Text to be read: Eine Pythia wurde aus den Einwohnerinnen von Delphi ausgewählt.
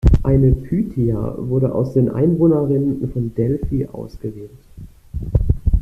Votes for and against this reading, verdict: 1, 2, rejected